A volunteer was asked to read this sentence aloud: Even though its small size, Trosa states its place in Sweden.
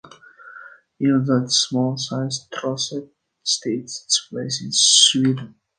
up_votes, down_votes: 1, 2